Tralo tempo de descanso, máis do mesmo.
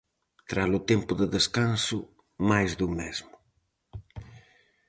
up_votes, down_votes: 4, 0